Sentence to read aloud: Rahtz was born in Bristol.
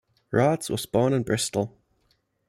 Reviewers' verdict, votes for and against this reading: accepted, 2, 0